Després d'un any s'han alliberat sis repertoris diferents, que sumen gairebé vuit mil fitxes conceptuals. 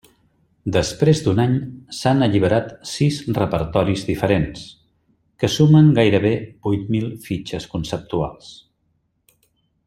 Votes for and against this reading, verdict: 3, 0, accepted